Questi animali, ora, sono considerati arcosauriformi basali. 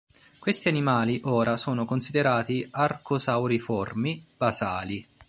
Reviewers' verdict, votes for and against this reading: accepted, 2, 0